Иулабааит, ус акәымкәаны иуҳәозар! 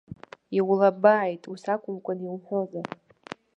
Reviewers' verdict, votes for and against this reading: rejected, 1, 2